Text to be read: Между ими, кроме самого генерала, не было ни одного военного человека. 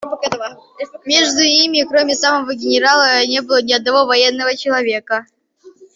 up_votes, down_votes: 1, 2